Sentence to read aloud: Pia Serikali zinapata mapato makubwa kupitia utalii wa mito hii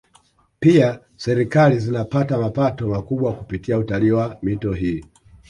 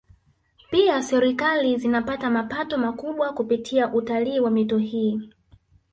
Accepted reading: second